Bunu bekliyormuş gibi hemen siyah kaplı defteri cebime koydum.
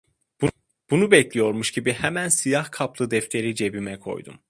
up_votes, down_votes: 2, 0